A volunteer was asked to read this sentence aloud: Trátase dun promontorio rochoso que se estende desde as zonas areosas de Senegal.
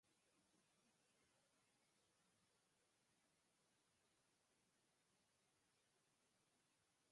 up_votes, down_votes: 0, 4